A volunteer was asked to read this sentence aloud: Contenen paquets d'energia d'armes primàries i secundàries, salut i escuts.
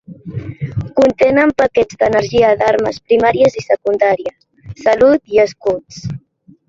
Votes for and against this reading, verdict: 3, 0, accepted